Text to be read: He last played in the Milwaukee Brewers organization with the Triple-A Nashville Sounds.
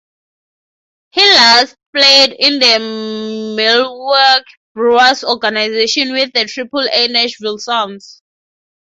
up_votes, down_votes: 0, 3